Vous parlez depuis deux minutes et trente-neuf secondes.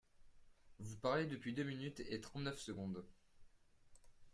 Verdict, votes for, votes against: rejected, 1, 2